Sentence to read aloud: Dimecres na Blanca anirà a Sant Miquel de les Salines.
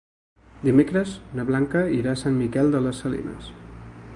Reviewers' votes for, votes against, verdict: 2, 3, rejected